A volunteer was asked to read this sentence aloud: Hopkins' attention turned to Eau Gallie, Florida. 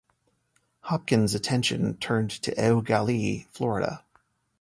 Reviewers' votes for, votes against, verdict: 2, 0, accepted